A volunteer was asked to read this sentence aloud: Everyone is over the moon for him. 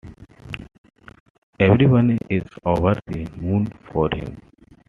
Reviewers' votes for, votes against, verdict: 2, 0, accepted